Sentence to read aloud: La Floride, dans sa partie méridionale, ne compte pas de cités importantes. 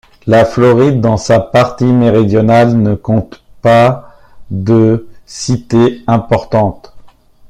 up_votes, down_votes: 2, 1